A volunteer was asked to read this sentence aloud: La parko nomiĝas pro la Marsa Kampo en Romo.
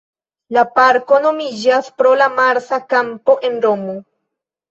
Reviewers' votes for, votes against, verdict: 2, 0, accepted